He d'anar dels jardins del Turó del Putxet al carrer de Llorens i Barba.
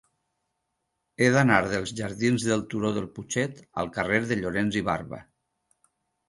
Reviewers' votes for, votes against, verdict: 4, 0, accepted